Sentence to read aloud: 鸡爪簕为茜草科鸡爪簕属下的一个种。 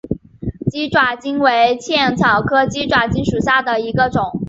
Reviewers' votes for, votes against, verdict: 2, 0, accepted